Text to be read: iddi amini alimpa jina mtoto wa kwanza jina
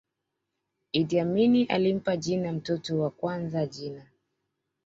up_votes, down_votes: 2, 0